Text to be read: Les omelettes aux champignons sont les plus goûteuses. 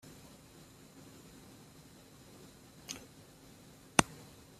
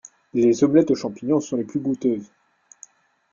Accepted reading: second